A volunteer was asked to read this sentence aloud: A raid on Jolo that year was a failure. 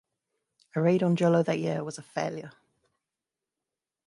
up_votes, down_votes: 3, 0